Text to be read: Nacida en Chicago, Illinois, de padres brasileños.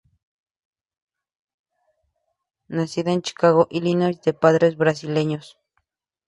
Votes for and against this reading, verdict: 2, 0, accepted